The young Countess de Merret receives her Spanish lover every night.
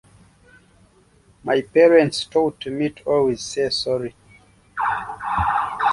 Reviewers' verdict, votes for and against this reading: rejected, 0, 2